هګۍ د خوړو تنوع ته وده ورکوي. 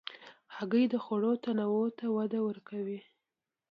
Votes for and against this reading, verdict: 2, 0, accepted